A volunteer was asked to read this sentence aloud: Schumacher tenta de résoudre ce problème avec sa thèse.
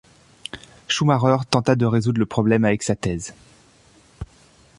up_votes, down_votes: 0, 2